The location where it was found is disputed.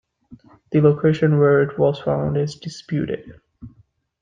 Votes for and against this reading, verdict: 2, 0, accepted